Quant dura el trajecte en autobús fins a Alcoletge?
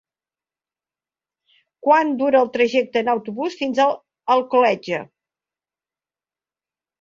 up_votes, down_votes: 2, 1